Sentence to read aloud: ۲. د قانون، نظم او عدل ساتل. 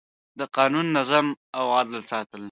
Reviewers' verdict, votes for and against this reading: rejected, 0, 2